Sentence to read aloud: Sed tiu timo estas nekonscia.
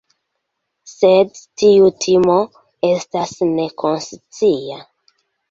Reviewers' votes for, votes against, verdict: 2, 1, accepted